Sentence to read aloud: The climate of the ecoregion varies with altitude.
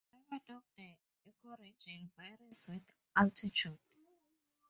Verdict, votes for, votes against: rejected, 0, 4